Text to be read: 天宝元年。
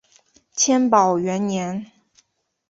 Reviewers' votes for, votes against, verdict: 2, 0, accepted